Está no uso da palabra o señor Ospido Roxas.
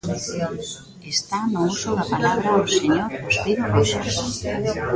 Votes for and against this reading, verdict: 0, 2, rejected